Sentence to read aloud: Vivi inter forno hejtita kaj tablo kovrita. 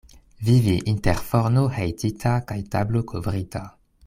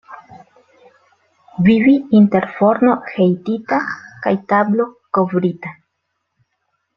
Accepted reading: second